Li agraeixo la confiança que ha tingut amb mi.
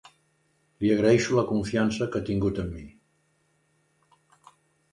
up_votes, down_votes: 2, 0